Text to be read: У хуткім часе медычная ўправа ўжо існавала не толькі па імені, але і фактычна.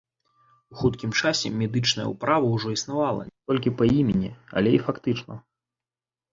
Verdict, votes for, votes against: rejected, 0, 2